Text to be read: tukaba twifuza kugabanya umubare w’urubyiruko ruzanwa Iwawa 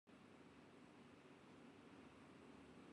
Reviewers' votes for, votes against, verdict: 0, 2, rejected